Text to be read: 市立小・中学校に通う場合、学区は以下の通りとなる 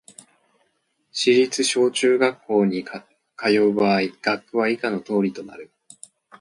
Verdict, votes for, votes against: accepted, 2, 1